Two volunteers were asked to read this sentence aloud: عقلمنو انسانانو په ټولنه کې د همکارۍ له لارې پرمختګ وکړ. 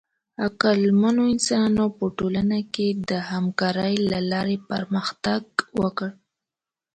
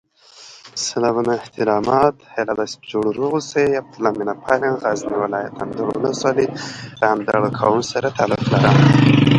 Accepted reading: first